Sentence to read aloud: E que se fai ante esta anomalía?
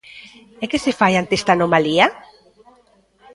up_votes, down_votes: 1, 2